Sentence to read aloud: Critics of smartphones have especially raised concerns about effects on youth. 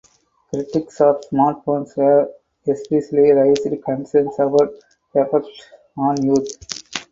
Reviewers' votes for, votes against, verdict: 0, 4, rejected